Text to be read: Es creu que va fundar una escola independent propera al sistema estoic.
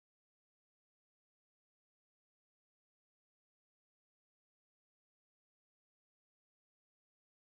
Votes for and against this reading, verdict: 0, 2, rejected